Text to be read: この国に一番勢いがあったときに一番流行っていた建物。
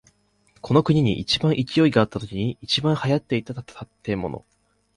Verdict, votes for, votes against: rejected, 0, 2